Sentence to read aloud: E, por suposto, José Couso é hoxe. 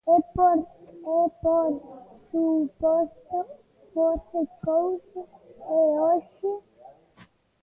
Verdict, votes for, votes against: rejected, 0, 2